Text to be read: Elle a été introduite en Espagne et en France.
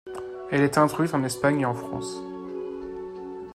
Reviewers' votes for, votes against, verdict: 1, 2, rejected